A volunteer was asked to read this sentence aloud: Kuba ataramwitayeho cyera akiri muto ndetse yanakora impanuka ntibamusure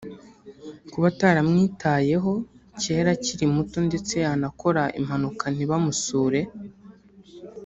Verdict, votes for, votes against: accepted, 3, 0